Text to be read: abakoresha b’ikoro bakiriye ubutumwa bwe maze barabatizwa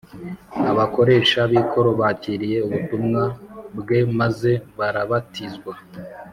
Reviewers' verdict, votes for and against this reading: accepted, 2, 0